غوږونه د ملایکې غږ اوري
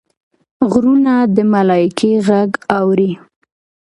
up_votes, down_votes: 2, 0